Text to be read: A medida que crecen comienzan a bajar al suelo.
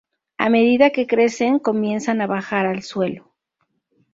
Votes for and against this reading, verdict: 2, 0, accepted